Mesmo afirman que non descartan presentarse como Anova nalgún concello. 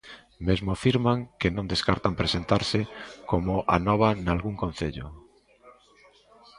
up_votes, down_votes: 2, 0